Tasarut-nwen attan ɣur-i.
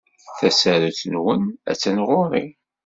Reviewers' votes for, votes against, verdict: 2, 0, accepted